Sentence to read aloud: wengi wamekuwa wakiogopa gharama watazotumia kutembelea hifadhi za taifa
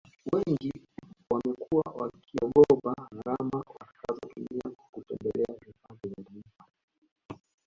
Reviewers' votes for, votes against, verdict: 1, 2, rejected